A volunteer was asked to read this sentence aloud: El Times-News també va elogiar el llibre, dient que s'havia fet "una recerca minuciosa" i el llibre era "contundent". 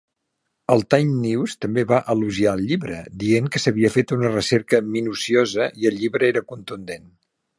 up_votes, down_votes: 2, 0